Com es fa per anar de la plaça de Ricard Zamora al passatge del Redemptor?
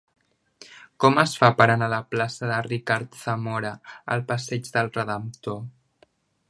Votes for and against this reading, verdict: 0, 2, rejected